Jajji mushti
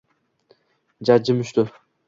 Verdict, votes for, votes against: accepted, 2, 0